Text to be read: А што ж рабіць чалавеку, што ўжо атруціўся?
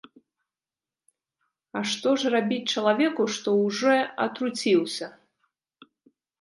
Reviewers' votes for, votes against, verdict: 1, 3, rejected